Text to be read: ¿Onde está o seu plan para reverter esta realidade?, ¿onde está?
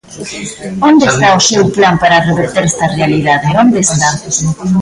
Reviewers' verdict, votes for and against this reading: rejected, 1, 2